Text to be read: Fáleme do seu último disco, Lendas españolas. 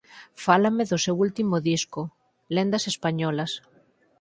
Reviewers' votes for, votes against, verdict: 2, 4, rejected